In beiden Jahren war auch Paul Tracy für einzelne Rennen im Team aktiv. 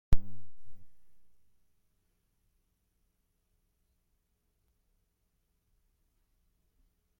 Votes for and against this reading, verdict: 0, 2, rejected